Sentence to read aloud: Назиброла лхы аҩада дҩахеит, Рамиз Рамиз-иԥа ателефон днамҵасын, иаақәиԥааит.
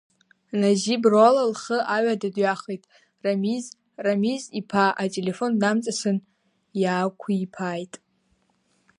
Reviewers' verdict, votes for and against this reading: rejected, 1, 2